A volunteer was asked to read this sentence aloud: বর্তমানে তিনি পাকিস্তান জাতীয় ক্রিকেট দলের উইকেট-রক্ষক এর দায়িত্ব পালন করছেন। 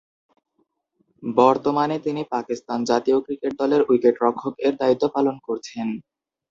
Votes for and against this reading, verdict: 2, 0, accepted